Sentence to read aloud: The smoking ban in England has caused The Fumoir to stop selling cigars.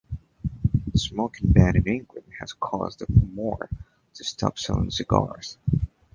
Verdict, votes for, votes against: rejected, 1, 2